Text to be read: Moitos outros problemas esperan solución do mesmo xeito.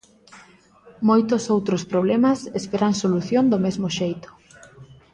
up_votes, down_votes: 2, 0